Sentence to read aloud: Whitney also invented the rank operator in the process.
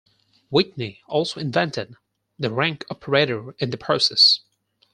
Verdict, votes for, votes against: accepted, 4, 0